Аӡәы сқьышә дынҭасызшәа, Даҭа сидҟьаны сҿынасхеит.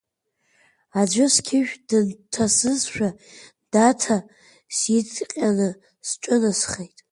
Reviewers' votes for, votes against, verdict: 2, 0, accepted